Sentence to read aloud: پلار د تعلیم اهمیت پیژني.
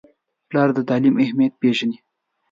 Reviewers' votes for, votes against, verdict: 2, 0, accepted